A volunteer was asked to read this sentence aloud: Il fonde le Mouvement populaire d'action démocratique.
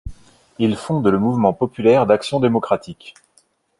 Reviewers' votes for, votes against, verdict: 0, 2, rejected